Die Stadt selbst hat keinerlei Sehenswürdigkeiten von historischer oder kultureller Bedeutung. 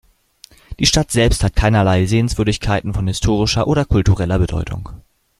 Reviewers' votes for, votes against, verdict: 2, 0, accepted